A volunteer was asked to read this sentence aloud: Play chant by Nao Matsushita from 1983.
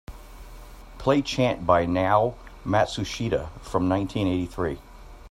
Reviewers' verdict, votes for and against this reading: rejected, 0, 2